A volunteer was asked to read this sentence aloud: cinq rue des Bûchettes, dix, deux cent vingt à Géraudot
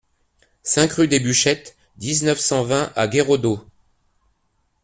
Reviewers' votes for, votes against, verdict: 0, 2, rejected